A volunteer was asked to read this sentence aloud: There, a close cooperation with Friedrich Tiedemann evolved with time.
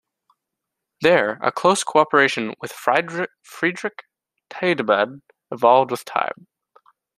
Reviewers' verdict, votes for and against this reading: rejected, 0, 2